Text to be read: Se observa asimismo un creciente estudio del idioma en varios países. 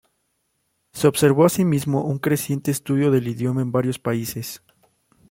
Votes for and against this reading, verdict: 0, 2, rejected